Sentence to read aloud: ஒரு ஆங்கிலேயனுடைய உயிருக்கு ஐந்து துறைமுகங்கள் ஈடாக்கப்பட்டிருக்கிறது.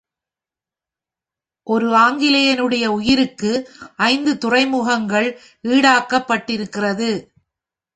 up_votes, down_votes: 1, 2